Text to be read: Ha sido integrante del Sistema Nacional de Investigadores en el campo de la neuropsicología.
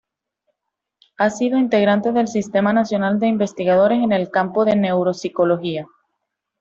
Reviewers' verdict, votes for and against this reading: accepted, 2, 0